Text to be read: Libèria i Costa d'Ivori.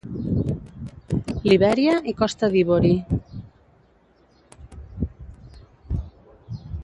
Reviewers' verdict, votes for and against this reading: rejected, 1, 3